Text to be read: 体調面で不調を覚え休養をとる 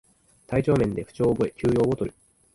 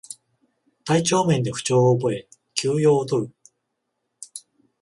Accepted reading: second